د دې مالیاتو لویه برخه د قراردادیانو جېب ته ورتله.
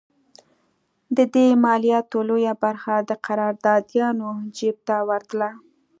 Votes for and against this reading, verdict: 2, 0, accepted